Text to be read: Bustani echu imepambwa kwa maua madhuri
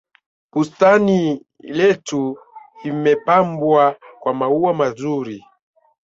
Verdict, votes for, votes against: rejected, 1, 2